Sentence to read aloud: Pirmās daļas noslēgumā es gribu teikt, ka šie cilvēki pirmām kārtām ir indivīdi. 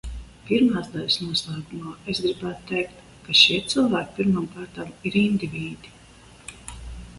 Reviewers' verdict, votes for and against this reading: rejected, 0, 2